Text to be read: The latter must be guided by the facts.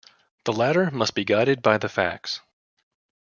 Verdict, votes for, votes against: accepted, 2, 0